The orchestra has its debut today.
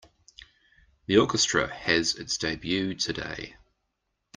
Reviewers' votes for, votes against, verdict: 2, 0, accepted